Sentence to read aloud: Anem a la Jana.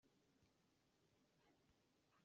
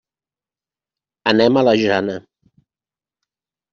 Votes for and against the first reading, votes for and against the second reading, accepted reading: 0, 2, 3, 0, second